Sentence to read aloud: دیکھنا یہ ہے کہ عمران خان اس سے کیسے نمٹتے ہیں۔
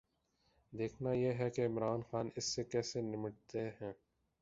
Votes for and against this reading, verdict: 3, 4, rejected